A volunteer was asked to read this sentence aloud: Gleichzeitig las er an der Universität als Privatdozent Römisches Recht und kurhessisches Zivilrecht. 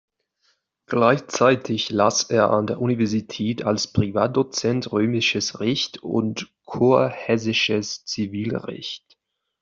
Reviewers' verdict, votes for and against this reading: accepted, 2, 0